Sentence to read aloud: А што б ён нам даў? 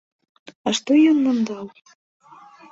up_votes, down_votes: 0, 2